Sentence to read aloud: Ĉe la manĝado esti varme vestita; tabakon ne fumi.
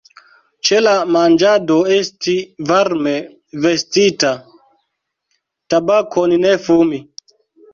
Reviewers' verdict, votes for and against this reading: rejected, 1, 3